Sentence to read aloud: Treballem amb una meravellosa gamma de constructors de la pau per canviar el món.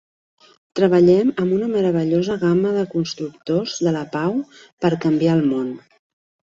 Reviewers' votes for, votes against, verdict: 3, 0, accepted